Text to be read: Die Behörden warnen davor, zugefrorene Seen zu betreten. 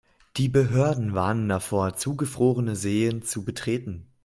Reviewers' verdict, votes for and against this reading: accepted, 2, 0